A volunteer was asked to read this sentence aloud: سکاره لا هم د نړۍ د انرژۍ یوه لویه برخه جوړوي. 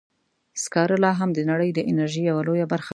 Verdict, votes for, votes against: rejected, 1, 2